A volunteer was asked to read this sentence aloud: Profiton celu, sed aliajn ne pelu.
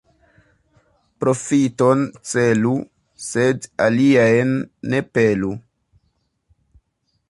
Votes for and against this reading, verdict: 2, 0, accepted